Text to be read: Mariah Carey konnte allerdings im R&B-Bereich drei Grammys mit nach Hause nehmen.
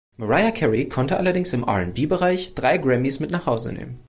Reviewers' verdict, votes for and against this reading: accepted, 2, 0